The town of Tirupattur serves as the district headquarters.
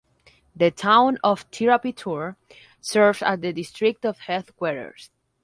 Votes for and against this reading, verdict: 0, 4, rejected